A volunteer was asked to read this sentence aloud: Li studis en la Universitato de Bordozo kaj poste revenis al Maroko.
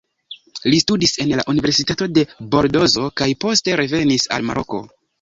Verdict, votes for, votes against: rejected, 1, 2